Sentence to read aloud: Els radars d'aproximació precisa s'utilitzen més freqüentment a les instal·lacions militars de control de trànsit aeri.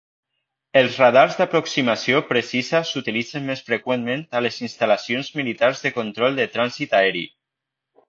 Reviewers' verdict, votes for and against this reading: accepted, 2, 0